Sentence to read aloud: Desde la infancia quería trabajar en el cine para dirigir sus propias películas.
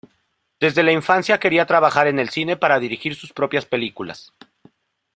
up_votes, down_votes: 2, 0